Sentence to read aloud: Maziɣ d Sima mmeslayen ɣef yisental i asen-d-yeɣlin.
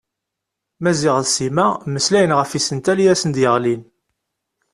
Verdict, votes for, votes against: accepted, 2, 0